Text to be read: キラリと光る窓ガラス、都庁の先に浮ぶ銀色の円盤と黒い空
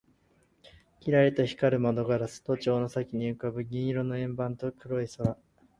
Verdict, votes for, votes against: accepted, 4, 0